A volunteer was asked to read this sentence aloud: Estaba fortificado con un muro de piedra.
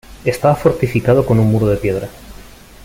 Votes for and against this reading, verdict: 0, 2, rejected